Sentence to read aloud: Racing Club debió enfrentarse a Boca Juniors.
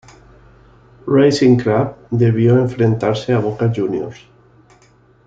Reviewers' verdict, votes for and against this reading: accepted, 2, 0